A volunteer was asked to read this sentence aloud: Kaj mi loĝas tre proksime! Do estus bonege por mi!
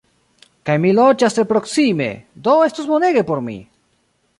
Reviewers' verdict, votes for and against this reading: rejected, 1, 2